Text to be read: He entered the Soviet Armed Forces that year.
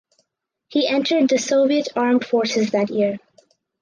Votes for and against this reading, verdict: 4, 0, accepted